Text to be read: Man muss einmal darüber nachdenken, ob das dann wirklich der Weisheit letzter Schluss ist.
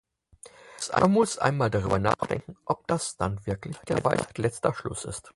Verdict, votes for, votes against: rejected, 0, 4